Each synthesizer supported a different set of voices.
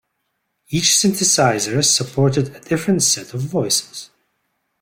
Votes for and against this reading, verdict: 1, 2, rejected